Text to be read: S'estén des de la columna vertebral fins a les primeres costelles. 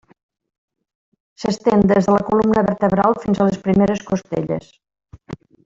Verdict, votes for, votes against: accepted, 2, 0